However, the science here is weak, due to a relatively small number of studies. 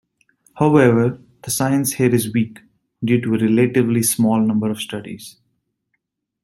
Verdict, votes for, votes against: rejected, 0, 2